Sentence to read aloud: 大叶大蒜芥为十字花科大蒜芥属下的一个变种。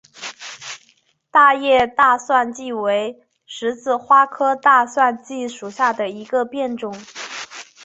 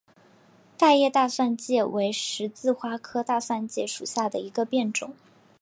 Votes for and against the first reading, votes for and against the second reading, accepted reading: 1, 2, 3, 0, second